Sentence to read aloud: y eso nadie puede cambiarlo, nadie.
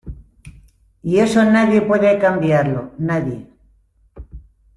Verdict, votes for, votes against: accepted, 2, 0